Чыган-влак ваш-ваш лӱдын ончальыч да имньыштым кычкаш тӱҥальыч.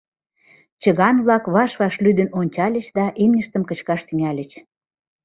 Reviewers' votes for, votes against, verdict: 2, 0, accepted